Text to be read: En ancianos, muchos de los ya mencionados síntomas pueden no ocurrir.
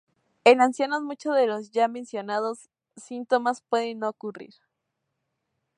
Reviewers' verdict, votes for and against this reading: accepted, 2, 0